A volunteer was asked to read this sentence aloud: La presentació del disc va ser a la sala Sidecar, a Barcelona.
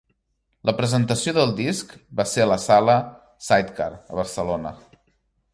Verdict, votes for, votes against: rejected, 1, 2